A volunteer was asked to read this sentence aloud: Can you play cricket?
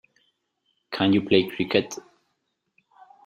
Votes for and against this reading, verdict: 2, 0, accepted